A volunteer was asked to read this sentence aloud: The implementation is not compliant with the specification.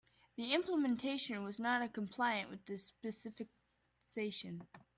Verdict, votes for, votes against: rejected, 0, 2